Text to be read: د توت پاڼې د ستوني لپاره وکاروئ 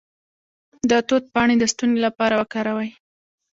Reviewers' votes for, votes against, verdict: 2, 1, accepted